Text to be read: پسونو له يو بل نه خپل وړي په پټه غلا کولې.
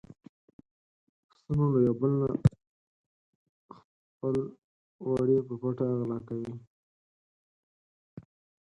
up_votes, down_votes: 0, 4